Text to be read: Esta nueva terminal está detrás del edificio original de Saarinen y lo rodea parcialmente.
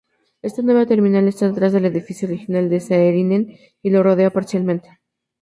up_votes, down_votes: 2, 0